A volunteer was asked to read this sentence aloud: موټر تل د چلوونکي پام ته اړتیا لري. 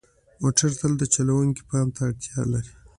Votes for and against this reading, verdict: 2, 0, accepted